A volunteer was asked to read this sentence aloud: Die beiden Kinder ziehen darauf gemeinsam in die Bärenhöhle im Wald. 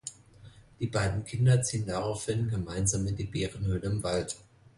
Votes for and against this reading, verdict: 0, 2, rejected